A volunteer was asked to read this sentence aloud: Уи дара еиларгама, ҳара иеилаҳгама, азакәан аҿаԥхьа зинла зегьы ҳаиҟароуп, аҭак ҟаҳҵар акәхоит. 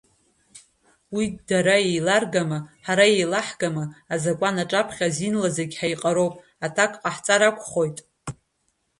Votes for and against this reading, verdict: 1, 2, rejected